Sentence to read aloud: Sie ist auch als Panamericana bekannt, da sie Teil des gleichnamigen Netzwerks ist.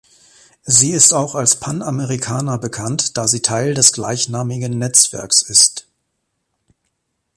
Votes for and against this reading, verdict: 2, 0, accepted